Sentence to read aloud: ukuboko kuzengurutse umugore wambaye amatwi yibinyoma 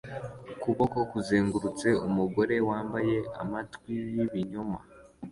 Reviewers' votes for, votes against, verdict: 2, 0, accepted